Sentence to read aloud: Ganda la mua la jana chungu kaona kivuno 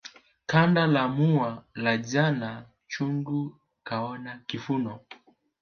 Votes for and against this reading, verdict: 5, 0, accepted